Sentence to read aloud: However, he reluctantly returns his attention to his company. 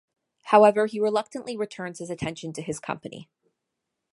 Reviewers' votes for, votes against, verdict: 2, 0, accepted